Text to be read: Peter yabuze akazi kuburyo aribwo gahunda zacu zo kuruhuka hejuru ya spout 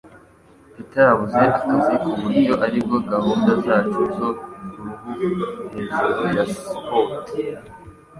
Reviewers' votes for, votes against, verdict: 0, 2, rejected